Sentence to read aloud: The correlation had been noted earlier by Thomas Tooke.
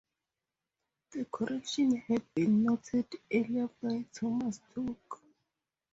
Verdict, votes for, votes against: rejected, 2, 2